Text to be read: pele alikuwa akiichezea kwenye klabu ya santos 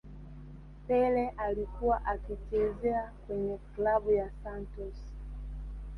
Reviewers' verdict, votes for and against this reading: rejected, 1, 2